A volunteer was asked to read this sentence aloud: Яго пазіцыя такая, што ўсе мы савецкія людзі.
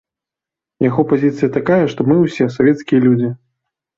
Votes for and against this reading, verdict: 1, 3, rejected